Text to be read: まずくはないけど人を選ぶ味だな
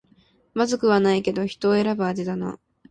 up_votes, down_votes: 2, 0